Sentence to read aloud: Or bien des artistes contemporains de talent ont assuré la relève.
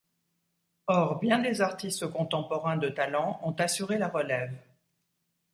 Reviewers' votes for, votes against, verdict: 1, 2, rejected